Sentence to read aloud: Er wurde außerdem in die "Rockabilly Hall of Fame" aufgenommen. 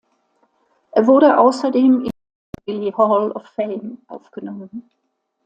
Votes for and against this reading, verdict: 0, 2, rejected